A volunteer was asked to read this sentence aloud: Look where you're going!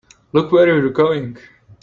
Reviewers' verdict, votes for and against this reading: accepted, 2, 0